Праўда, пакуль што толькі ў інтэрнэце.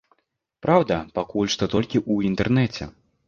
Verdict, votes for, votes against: accepted, 2, 0